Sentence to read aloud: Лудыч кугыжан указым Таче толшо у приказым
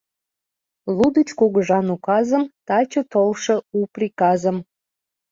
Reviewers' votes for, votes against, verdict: 2, 0, accepted